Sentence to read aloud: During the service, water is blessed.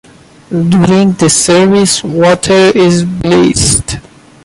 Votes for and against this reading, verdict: 1, 2, rejected